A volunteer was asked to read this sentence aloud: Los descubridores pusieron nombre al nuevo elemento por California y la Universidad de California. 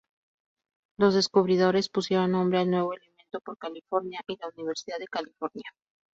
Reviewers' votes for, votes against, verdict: 0, 2, rejected